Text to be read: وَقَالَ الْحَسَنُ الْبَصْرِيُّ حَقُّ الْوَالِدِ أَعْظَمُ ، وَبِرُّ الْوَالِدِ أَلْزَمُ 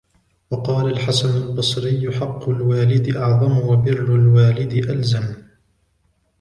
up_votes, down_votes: 2, 0